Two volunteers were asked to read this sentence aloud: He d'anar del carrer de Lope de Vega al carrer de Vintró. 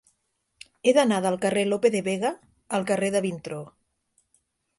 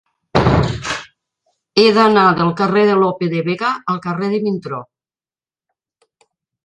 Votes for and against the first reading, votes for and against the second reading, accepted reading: 2, 0, 1, 2, first